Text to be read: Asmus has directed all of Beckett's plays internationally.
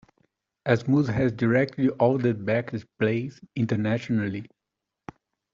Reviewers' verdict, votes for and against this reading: rejected, 1, 2